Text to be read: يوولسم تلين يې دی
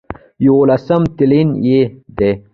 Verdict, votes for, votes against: rejected, 1, 2